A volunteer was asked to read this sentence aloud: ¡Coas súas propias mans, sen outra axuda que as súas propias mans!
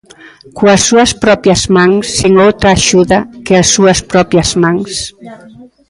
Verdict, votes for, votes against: rejected, 1, 2